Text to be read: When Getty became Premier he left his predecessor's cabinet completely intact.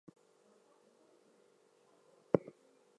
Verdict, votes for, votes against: rejected, 0, 4